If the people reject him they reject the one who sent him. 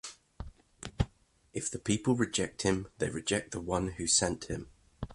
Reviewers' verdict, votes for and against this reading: accepted, 2, 0